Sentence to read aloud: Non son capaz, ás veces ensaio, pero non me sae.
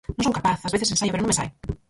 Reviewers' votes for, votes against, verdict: 0, 4, rejected